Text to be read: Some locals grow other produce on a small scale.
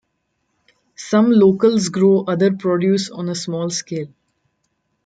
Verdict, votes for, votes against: accepted, 2, 1